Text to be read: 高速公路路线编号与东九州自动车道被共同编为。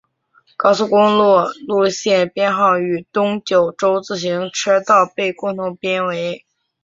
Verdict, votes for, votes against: accepted, 4, 0